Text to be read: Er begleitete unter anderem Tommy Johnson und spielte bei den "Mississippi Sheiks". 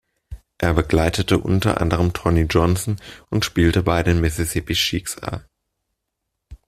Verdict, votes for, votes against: rejected, 0, 2